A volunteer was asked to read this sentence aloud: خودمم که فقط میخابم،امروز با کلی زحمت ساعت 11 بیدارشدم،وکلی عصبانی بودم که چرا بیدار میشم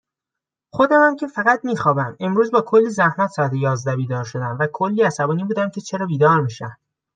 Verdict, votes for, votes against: rejected, 0, 2